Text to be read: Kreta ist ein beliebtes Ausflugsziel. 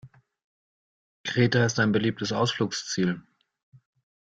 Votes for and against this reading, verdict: 2, 0, accepted